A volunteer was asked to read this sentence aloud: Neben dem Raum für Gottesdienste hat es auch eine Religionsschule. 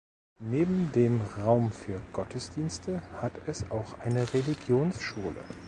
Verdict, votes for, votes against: accepted, 2, 0